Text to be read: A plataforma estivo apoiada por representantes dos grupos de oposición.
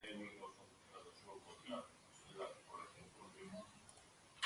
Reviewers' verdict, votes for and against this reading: rejected, 0, 2